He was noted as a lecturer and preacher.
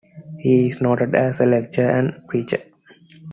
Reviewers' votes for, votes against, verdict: 2, 0, accepted